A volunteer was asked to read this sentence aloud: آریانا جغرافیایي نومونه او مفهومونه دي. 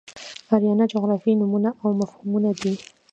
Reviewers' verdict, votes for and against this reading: accepted, 2, 1